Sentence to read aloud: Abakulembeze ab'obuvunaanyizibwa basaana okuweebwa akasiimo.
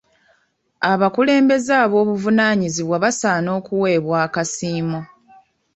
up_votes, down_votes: 1, 2